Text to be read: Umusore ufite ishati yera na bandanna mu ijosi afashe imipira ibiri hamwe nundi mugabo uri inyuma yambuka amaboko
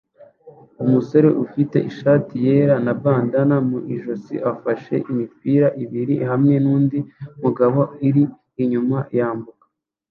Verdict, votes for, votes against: rejected, 0, 2